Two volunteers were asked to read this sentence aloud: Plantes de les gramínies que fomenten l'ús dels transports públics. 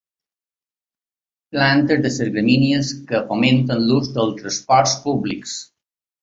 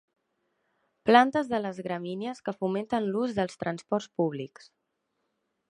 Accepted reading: second